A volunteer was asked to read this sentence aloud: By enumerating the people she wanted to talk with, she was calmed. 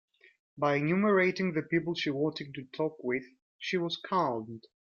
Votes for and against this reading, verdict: 3, 0, accepted